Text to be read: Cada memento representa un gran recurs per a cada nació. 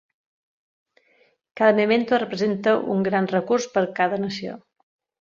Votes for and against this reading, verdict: 0, 2, rejected